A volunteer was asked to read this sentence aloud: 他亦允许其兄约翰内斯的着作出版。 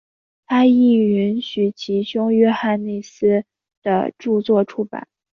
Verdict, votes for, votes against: accepted, 2, 0